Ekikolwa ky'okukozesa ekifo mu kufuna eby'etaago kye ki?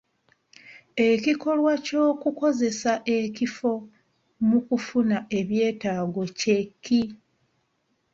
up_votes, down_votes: 0, 2